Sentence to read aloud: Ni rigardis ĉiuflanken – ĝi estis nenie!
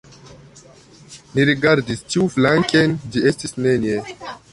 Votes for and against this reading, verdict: 1, 2, rejected